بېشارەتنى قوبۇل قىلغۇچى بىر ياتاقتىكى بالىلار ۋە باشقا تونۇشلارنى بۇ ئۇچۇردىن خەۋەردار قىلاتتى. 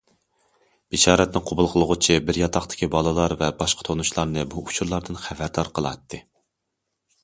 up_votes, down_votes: 1, 2